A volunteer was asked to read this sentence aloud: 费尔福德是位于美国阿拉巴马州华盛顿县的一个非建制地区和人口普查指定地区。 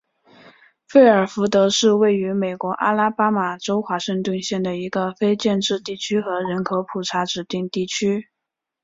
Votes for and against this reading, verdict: 2, 0, accepted